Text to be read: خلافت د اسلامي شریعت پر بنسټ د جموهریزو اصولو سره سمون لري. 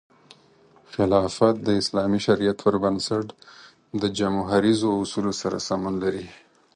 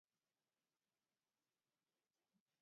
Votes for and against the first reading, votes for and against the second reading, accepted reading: 4, 0, 0, 2, first